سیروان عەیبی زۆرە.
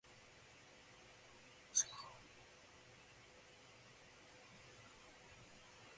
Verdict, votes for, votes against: rejected, 0, 2